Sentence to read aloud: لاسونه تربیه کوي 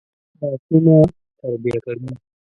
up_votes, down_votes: 0, 2